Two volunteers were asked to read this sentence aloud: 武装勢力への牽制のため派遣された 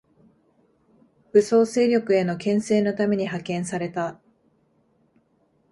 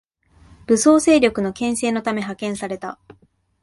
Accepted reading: second